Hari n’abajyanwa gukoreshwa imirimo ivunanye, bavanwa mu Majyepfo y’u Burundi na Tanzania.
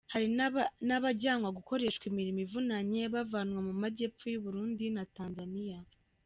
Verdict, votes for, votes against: rejected, 0, 2